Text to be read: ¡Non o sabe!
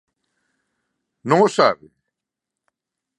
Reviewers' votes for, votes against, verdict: 2, 0, accepted